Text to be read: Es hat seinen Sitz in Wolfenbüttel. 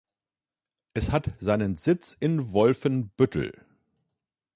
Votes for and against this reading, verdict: 2, 0, accepted